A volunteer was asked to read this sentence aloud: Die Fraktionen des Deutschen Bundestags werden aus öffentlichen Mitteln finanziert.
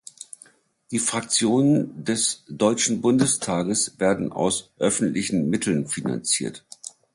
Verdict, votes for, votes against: rejected, 1, 2